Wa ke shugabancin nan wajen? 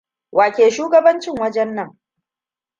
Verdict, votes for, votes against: rejected, 1, 2